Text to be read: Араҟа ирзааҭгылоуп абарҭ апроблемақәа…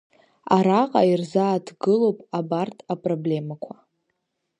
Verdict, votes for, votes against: accepted, 2, 0